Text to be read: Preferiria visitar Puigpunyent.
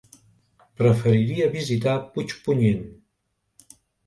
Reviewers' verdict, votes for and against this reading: accepted, 2, 0